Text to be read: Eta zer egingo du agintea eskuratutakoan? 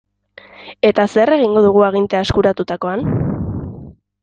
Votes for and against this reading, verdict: 1, 3, rejected